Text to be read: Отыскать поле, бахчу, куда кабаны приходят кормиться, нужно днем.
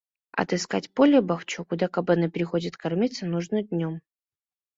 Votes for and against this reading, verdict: 1, 2, rejected